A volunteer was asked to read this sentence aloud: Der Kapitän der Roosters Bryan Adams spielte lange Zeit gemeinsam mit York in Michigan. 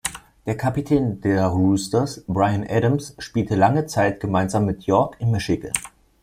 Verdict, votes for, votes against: accepted, 2, 0